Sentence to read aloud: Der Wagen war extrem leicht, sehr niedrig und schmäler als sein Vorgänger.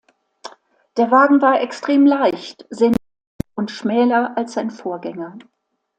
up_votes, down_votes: 1, 2